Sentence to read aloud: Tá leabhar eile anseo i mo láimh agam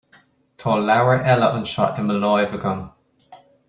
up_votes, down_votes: 2, 0